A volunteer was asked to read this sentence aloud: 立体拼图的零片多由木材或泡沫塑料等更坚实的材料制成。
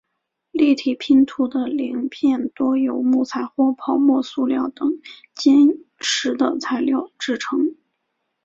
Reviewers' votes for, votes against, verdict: 1, 3, rejected